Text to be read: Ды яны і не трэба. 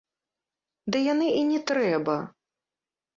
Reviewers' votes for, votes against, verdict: 2, 0, accepted